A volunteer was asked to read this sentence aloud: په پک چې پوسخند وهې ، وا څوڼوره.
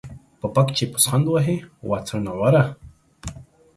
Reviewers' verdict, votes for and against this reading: accepted, 2, 1